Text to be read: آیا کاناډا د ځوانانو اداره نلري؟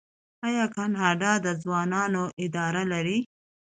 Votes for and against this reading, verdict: 2, 0, accepted